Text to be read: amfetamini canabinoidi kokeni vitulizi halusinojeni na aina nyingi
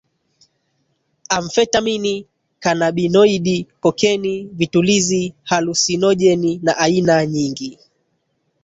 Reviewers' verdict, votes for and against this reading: rejected, 0, 2